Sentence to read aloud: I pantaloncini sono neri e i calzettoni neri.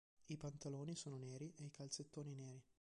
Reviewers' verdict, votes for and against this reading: rejected, 1, 3